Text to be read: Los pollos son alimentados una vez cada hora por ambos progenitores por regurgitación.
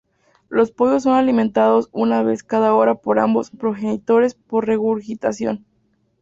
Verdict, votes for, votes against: accepted, 2, 0